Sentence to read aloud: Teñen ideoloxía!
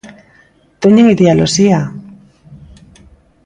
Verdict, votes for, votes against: rejected, 0, 2